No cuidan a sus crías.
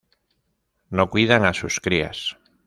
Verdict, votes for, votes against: accepted, 2, 1